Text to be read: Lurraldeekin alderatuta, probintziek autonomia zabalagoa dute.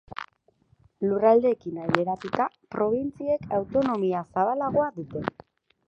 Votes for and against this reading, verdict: 2, 2, rejected